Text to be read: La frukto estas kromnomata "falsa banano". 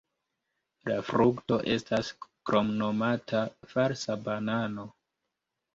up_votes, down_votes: 1, 2